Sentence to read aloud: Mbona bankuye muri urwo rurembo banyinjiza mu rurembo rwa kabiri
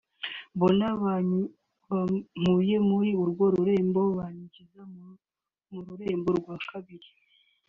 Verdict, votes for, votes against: rejected, 1, 2